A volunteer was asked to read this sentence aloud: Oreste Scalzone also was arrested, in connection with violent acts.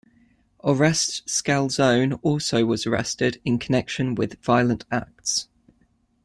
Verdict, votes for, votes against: rejected, 0, 2